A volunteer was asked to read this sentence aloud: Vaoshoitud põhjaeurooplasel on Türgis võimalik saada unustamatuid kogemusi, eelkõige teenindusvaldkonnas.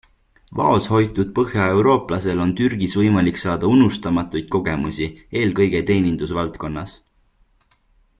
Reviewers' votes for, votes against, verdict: 2, 0, accepted